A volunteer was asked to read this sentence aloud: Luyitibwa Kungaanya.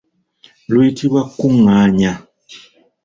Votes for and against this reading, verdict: 2, 0, accepted